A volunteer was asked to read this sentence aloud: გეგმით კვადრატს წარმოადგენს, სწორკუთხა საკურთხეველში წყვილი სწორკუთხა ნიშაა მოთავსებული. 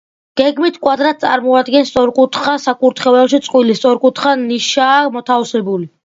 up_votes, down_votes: 2, 0